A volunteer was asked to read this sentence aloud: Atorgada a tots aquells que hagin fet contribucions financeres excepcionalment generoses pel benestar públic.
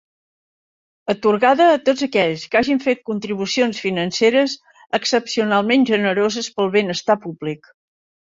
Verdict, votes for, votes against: accepted, 3, 0